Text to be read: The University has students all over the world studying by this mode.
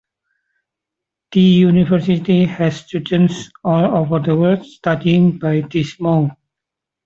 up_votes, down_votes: 2, 1